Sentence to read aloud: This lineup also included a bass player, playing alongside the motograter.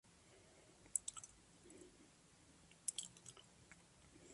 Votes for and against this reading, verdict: 0, 2, rejected